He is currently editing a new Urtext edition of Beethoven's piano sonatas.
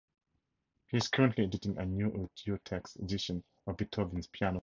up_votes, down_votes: 2, 4